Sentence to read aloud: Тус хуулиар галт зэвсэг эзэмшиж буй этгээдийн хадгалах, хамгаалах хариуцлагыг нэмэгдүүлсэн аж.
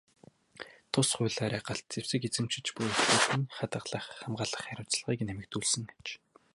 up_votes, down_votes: 0, 2